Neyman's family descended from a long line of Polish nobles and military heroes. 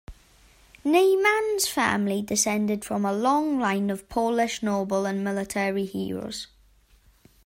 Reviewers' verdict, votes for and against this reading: accepted, 2, 0